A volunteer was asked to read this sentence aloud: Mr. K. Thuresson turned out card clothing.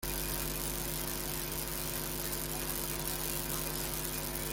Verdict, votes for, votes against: rejected, 1, 2